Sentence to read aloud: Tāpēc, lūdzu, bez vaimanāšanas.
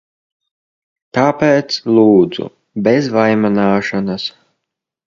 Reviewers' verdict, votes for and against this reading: accepted, 2, 0